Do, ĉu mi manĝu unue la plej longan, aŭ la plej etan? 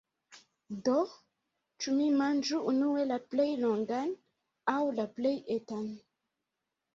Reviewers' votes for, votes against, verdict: 2, 1, accepted